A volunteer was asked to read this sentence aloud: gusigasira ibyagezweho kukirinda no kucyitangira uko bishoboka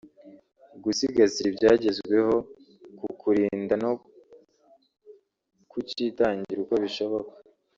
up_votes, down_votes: 0, 2